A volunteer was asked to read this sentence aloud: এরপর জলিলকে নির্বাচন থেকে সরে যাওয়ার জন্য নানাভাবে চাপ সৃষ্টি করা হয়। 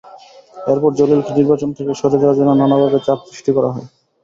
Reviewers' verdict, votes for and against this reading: rejected, 0, 2